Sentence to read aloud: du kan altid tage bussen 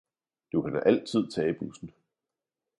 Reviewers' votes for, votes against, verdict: 2, 0, accepted